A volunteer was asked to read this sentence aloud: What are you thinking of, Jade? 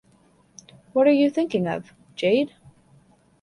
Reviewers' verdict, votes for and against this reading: accepted, 2, 0